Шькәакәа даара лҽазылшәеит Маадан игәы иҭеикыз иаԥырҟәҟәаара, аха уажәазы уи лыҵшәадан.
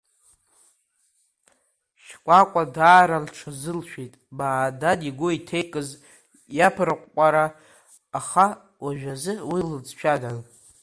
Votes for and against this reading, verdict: 1, 2, rejected